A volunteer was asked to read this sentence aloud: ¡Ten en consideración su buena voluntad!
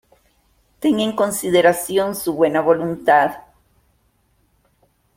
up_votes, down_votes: 2, 0